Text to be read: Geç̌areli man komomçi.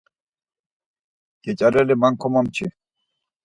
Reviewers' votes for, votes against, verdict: 4, 0, accepted